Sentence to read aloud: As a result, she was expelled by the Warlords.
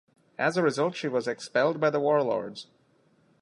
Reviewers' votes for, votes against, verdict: 2, 1, accepted